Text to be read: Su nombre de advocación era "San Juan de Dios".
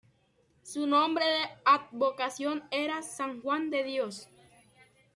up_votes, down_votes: 0, 2